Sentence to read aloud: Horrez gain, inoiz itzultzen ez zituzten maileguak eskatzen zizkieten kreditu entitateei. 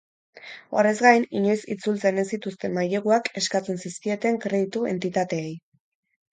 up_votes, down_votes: 4, 0